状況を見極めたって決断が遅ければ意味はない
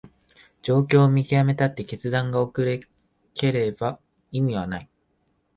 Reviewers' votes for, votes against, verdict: 0, 2, rejected